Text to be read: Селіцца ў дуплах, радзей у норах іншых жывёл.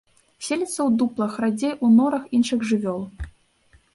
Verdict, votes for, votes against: accepted, 2, 0